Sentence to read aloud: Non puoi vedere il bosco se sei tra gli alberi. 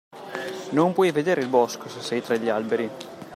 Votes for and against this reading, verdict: 2, 0, accepted